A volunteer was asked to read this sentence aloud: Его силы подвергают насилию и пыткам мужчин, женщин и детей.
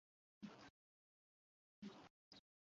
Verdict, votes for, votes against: rejected, 0, 2